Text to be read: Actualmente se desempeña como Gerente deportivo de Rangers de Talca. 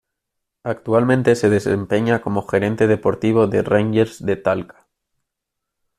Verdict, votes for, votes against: accepted, 2, 0